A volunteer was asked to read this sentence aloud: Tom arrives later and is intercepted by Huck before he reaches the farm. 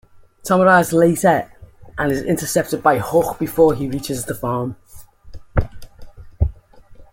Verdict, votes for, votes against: accepted, 2, 0